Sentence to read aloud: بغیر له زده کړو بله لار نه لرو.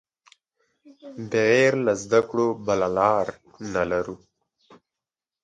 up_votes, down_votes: 2, 1